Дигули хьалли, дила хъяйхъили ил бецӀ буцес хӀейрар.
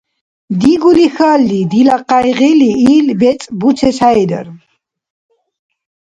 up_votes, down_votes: 0, 2